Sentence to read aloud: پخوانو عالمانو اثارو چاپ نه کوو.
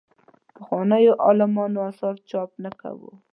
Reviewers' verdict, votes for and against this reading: rejected, 1, 2